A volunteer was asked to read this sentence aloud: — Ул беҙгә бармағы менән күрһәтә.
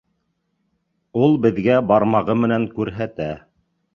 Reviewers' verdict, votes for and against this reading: accepted, 2, 0